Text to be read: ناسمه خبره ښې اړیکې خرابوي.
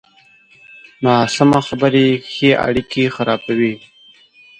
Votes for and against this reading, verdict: 0, 2, rejected